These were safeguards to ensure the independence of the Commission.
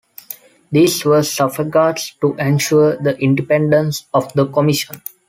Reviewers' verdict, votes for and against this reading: rejected, 0, 2